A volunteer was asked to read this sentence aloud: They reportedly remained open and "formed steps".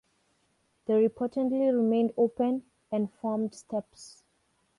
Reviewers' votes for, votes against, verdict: 0, 2, rejected